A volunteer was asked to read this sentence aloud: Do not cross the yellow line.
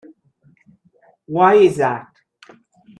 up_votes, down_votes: 0, 2